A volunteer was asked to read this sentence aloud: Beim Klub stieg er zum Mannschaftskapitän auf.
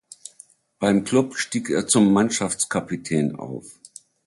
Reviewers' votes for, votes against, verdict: 2, 0, accepted